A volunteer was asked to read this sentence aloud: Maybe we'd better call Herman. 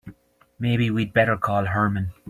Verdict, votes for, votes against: accepted, 2, 0